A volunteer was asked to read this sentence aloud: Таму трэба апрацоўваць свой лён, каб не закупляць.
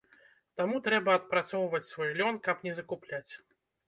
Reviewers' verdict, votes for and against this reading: rejected, 1, 2